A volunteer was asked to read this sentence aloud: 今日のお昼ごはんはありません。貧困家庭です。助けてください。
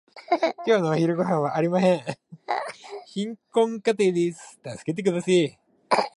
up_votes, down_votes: 0, 2